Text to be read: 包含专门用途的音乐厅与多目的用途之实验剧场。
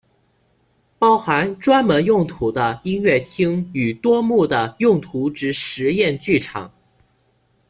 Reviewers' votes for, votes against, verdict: 1, 2, rejected